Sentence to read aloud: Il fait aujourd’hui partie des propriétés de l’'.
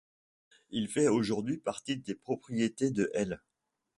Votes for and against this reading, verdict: 1, 2, rejected